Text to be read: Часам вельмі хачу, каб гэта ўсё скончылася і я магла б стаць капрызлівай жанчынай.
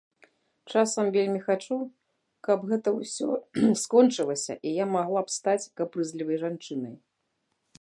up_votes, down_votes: 1, 2